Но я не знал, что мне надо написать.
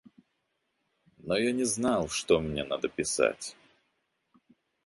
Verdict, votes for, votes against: rejected, 0, 2